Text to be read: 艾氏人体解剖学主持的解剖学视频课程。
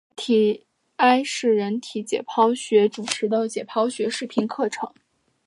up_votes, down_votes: 2, 1